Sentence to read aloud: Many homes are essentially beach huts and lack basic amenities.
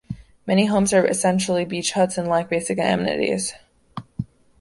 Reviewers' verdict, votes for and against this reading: rejected, 1, 2